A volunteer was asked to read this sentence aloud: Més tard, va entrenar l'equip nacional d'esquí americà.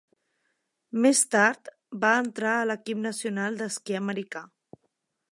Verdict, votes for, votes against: rejected, 0, 2